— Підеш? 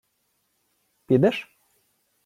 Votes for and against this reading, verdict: 2, 0, accepted